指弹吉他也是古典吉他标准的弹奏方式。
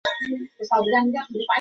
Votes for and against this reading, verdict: 0, 2, rejected